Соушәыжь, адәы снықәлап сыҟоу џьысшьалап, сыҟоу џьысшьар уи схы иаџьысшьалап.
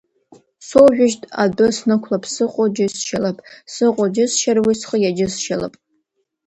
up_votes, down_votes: 1, 2